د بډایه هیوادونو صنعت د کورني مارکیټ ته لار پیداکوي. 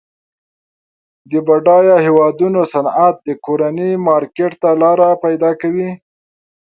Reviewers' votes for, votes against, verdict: 2, 0, accepted